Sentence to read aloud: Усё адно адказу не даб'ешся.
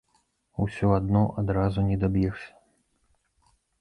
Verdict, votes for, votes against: rejected, 0, 2